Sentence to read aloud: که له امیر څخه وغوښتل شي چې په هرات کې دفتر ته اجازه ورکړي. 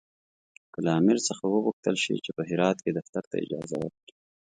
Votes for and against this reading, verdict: 2, 0, accepted